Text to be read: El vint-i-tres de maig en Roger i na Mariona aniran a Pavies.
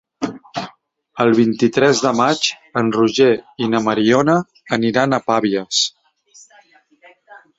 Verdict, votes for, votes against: rejected, 1, 2